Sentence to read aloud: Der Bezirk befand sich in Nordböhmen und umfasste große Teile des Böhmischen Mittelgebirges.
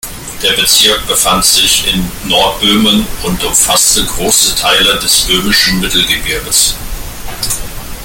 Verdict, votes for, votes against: accepted, 2, 0